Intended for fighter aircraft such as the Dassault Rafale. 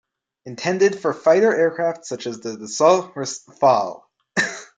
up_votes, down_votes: 1, 2